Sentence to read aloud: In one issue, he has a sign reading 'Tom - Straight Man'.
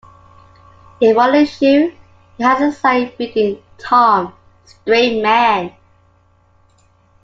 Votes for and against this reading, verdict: 2, 1, accepted